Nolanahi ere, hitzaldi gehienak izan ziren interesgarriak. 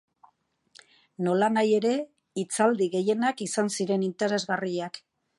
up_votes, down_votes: 2, 0